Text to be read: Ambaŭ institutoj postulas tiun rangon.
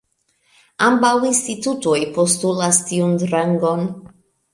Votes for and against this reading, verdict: 1, 2, rejected